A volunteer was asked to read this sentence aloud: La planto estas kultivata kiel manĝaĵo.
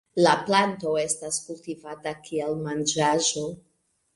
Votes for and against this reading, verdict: 2, 1, accepted